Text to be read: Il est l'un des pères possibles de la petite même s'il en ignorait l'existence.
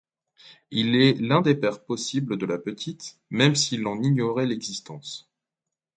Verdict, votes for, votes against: accepted, 2, 0